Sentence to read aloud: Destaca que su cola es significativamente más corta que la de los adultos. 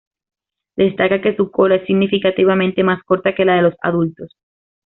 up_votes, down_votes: 2, 0